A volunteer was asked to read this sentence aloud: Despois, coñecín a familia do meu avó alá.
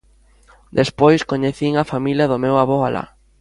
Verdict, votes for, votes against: accepted, 2, 0